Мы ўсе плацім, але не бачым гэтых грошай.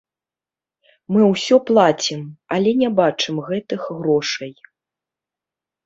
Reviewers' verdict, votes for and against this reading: rejected, 0, 2